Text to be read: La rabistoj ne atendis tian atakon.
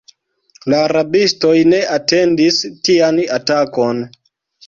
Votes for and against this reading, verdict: 2, 1, accepted